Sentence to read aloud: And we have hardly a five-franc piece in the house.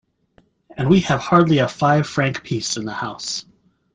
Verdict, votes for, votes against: accepted, 2, 0